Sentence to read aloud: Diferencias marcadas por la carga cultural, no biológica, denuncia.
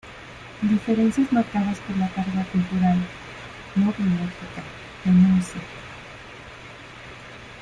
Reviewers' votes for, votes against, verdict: 0, 2, rejected